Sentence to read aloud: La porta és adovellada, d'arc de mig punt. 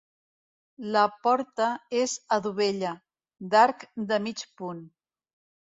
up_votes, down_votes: 0, 3